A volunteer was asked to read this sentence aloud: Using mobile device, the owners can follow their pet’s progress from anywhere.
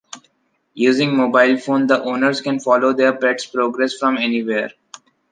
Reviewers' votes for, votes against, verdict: 1, 2, rejected